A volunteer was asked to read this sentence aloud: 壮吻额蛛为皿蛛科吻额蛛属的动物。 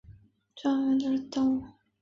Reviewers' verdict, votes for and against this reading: rejected, 0, 2